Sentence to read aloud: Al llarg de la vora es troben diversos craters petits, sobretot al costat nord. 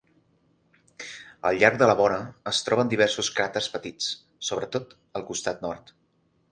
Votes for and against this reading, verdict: 6, 3, accepted